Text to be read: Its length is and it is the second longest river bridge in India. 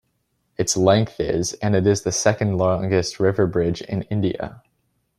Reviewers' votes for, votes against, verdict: 0, 2, rejected